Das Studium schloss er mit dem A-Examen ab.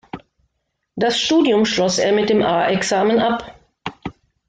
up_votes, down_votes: 2, 0